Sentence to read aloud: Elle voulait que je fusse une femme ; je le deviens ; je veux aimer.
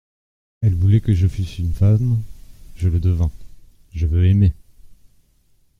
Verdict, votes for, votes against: rejected, 1, 2